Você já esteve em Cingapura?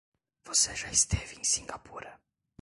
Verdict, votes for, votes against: rejected, 1, 2